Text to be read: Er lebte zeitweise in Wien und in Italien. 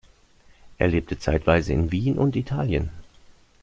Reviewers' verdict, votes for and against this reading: rejected, 0, 2